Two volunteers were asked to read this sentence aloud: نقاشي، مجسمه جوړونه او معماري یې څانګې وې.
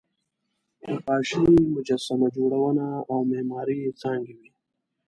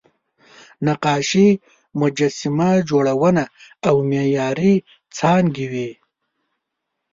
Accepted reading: first